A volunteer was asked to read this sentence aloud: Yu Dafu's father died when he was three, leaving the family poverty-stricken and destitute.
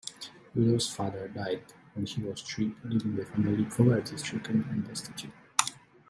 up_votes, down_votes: 1, 2